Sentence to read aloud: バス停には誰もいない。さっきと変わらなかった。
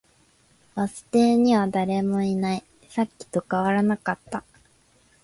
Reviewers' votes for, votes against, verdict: 4, 1, accepted